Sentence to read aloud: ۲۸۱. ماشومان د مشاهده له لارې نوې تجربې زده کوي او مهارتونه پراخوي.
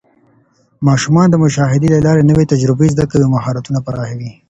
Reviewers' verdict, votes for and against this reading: rejected, 0, 2